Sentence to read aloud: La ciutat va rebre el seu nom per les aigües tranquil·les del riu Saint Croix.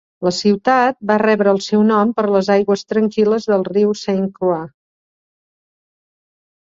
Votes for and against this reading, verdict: 4, 0, accepted